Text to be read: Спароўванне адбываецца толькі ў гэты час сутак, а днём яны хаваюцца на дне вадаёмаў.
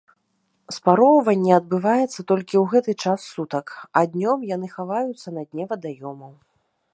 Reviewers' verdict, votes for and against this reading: accepted, 2, 0